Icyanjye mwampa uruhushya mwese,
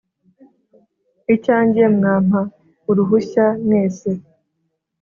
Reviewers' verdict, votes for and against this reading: accepted, 3, 0